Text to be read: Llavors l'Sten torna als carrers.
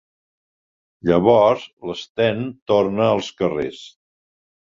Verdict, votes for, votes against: accepted, 3, 0